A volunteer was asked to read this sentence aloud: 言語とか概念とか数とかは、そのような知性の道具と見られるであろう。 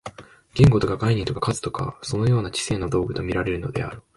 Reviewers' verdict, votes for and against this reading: accepted, 2, 0